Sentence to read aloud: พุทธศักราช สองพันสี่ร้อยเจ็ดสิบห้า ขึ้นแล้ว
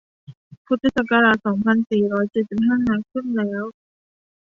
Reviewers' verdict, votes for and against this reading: rejected, 0, 2